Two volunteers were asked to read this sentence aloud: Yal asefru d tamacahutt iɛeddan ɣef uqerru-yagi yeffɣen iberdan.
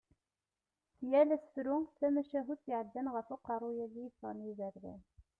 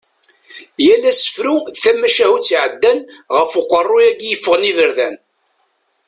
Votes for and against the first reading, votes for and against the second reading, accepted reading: 0, 2, 2, 0, second